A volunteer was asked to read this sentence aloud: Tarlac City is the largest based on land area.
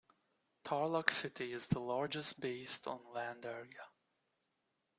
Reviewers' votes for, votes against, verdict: 2, 0, accepted